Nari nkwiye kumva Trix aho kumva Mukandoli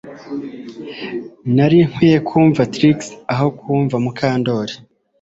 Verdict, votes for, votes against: accepted, 2, 0